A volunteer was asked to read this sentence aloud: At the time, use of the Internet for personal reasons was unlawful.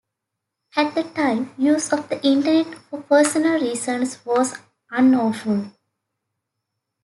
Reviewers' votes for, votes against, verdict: 2, 1, accepted